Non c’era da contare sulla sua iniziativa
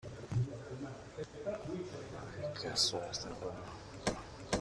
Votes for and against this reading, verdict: 0, 2, rejected